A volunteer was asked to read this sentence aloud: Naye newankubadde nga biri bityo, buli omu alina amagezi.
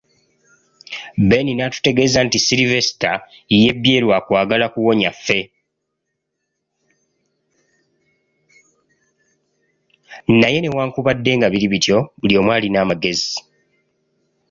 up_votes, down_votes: 0, 2